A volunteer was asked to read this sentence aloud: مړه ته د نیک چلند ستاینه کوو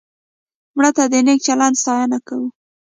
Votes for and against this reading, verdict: 0, 2, rejected